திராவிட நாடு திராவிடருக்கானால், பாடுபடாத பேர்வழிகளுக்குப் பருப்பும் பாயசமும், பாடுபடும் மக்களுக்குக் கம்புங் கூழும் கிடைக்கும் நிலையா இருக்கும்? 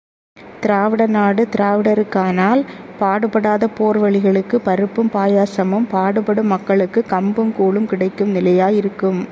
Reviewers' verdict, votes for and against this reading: rejected, 1, 2